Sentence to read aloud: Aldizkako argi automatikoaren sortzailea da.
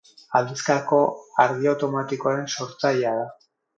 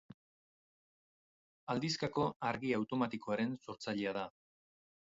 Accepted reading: first